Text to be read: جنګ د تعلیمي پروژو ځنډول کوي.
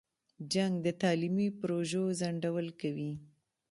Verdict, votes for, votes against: accepted, 2, 1